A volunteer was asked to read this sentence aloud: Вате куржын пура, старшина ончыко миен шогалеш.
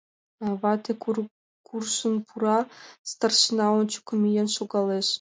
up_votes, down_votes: 0, 2